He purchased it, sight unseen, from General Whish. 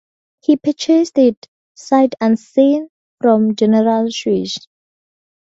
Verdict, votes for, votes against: rejected, 0, 4